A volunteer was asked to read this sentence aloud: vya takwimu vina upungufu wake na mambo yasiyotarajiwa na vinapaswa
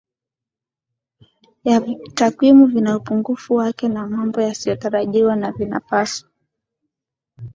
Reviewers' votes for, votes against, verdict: 2, 0, accepted